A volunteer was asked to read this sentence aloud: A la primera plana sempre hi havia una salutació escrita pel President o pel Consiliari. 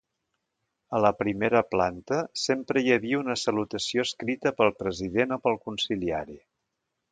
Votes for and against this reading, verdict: 0, 2, rejected